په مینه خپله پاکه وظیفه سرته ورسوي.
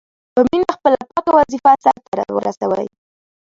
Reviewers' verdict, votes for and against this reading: rejected, 0, 2